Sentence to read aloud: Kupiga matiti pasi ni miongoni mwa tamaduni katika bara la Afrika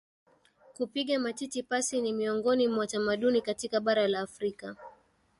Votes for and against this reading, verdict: 3, 0, accepted